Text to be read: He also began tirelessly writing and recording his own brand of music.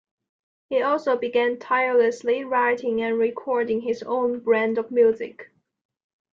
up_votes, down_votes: 2, 0